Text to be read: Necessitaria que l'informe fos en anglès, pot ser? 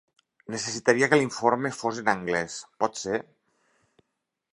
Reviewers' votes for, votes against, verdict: 2, 0, accepted